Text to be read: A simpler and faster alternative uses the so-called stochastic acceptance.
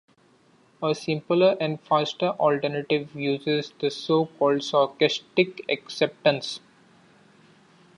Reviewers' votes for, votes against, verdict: 1, 2, rejected